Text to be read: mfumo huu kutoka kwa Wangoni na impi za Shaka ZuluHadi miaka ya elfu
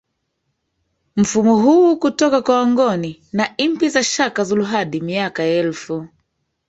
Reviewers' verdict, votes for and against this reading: rejected, 1, 2